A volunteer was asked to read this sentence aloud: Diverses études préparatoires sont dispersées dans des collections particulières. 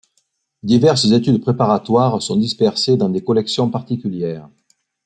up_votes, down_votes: 2, 0